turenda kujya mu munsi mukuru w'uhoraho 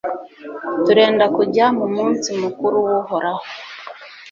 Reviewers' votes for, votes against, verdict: 2, 0, accepted